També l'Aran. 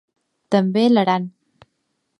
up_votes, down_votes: 2, 0